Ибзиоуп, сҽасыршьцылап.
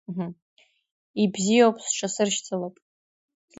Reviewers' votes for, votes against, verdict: 2, 1, accepted